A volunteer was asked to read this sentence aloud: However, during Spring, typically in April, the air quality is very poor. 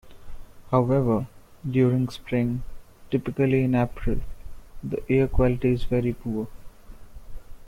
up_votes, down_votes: 3, 0